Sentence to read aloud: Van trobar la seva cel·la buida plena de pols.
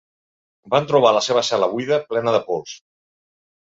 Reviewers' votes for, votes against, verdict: 2, 0, accepted